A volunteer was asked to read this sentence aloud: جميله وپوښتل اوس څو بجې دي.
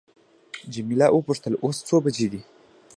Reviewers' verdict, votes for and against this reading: rejected, 0, 2